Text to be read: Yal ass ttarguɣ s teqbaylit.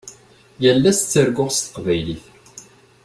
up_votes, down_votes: 2, 0